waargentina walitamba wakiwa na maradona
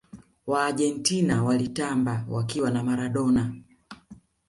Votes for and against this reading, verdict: 2, 0, accepted